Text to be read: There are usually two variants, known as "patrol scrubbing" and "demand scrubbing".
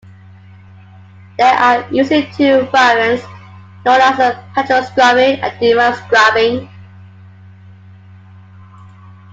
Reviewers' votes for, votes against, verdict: 2, 1, accepted